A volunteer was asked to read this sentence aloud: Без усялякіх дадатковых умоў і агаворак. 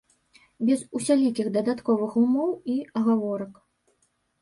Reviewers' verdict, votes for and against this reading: rejected, 1, 2